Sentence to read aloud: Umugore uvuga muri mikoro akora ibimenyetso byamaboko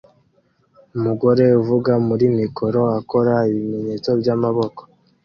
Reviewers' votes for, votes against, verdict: 2, 0, accepted